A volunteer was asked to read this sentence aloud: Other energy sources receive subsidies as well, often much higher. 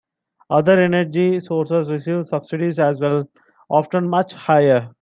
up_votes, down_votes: 2, 0